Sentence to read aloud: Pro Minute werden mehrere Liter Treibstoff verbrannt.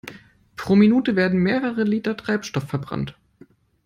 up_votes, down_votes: 2, 0